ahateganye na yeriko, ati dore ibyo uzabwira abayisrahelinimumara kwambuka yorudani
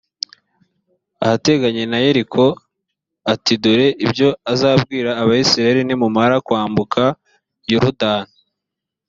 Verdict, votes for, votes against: rejected, 1, 2